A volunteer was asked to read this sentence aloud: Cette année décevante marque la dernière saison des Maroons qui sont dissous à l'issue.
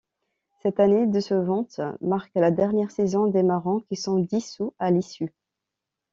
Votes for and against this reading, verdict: 1, 2, rejected